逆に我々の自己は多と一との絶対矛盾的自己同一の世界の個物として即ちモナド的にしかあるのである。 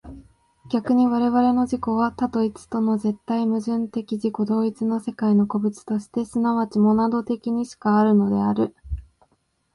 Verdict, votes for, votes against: accepted, 2, 0